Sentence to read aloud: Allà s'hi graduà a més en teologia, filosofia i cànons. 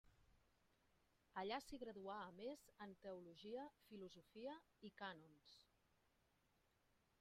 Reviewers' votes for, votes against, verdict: 1, 2, rejected